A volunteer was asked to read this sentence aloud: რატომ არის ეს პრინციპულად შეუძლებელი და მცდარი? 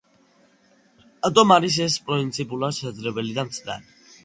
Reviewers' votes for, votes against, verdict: 2, 1, accepted